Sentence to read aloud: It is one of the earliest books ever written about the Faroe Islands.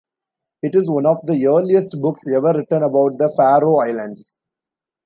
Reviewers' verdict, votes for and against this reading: accepted, 2, 1